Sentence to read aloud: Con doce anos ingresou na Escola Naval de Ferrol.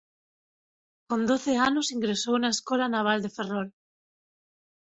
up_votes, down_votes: 12, 1